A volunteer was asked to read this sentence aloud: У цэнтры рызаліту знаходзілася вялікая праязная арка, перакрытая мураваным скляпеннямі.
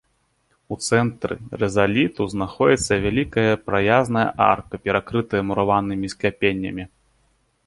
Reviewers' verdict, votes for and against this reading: rejected, 0, 2